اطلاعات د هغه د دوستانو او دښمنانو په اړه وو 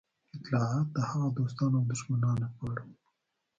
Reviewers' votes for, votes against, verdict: 0, 2, rejected